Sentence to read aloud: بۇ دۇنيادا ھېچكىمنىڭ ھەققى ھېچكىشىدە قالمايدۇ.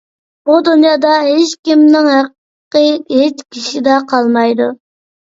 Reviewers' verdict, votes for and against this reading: accepted, 3, 0